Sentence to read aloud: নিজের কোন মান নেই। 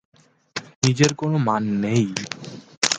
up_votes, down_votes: 2, 2